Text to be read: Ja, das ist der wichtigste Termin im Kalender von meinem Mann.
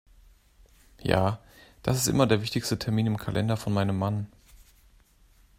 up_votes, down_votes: 0, 2